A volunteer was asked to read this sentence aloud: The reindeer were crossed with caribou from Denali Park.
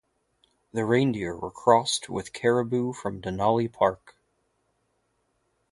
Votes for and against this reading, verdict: 2, 0, accepted